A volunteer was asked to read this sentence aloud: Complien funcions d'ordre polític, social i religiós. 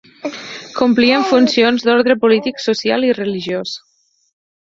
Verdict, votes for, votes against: accepted, 4, 0